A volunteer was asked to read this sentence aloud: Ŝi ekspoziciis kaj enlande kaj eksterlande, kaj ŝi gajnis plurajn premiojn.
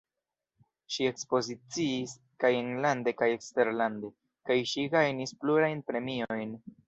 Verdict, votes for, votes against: rejected, 0, 2